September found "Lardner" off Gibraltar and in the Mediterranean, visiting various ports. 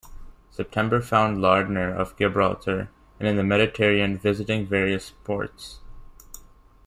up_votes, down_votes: 0, 2